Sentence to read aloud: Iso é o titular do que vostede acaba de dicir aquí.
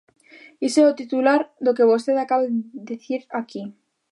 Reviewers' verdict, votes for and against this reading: rejected, 1, 2